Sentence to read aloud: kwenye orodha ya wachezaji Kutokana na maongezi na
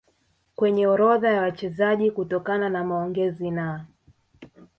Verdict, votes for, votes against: accepted, 2, 0